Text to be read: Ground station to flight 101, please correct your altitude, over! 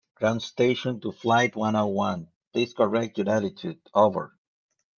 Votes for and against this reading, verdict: 0, 2, rejected